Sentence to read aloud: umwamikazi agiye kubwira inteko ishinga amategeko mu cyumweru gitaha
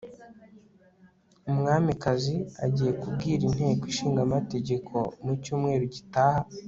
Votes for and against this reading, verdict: 2, 0, accepted